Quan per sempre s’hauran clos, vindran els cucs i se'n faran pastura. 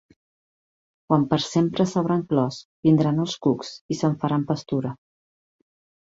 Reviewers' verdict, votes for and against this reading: accepted, 2, 0